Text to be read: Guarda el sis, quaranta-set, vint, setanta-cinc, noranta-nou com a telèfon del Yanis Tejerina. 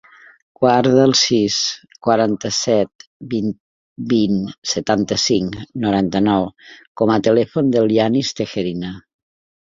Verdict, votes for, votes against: rejected, 1, 4